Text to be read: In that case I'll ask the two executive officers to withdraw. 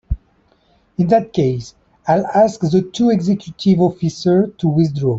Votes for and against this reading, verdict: 1, 2, rejected